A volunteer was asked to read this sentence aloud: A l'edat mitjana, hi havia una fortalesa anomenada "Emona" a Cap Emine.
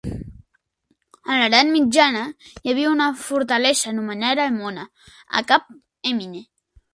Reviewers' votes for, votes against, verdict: 2, 3, rejected